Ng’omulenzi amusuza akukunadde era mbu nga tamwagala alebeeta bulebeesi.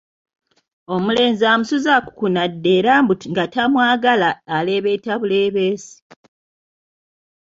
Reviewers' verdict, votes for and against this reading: rejected, 0, 2